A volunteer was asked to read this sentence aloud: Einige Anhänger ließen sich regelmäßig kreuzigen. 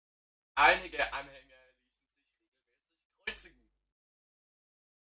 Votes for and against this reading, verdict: 0, 2, rejected